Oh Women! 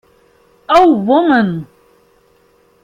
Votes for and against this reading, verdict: 1, 2, rejected